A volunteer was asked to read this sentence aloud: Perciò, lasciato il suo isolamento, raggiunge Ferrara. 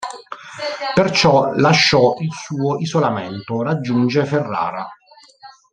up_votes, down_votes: 1, 3